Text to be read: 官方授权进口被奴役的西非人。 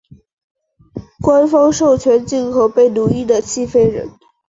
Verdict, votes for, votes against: accepted, 2, 0